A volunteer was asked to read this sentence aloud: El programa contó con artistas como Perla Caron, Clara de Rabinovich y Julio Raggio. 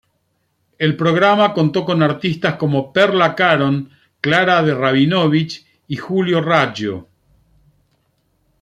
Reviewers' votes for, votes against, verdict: 2, 0, accepted